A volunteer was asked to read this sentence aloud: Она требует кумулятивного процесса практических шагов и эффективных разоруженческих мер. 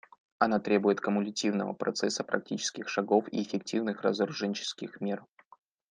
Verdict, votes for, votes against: accepted, 2, 0